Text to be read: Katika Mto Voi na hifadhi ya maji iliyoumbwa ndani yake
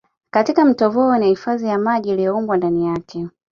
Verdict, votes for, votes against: accepted, 2, 0